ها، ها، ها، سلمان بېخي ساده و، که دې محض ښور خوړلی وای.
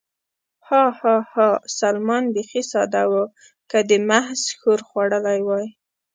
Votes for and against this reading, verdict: 2, 0, accepted